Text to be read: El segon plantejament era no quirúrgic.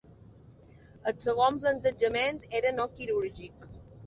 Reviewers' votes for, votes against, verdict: 3, 0, accepted